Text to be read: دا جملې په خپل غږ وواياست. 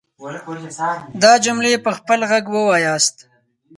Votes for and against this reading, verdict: 0, 4, rejected